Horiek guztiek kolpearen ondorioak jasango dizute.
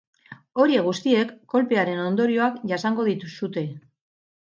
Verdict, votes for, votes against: rejected, 0, 4